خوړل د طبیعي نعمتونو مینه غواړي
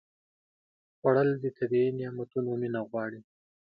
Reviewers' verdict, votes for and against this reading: accepted, 2, 0